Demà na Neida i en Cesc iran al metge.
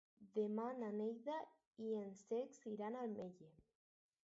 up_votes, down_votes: 0, 4